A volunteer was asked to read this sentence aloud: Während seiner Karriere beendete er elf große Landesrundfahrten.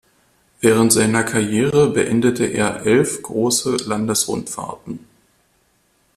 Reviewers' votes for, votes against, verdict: 2, 0, accepted